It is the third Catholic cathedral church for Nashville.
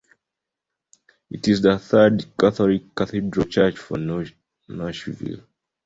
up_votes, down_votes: 2, 0